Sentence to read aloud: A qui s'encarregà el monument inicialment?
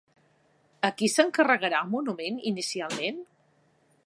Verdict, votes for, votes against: rejected, 6, 8